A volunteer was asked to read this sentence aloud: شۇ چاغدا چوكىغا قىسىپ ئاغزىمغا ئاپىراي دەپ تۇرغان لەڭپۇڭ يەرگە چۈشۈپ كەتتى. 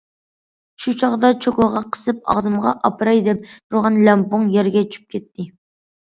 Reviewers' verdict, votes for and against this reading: accepted, 2, 1